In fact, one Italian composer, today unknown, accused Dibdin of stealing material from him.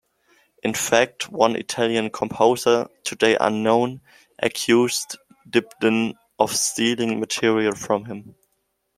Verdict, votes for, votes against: accepted, 2, 0